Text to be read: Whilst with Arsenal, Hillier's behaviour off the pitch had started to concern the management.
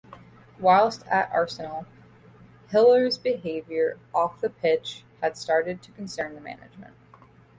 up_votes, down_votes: 1, 2